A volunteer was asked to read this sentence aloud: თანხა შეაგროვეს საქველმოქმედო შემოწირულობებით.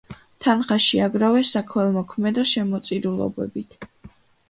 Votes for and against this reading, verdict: 2, 0, accepted